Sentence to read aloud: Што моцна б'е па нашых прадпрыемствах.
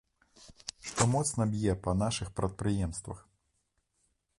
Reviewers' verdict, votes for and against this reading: accepted, 2, 0